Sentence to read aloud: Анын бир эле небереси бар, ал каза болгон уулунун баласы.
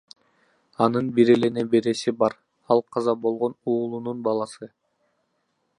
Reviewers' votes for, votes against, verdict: 2, 0, accepted